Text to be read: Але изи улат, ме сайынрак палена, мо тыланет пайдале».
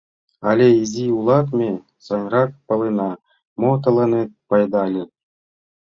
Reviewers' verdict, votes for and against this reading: accepted, 2, 0